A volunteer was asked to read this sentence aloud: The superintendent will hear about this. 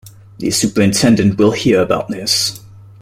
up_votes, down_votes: 2, 0